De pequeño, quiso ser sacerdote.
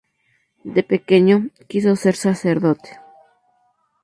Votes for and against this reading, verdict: 2, 0, accepted